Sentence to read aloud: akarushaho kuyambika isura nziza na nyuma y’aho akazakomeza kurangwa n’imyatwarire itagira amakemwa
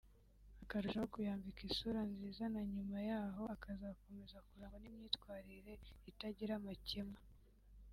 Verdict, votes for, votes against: accepted, 2, 0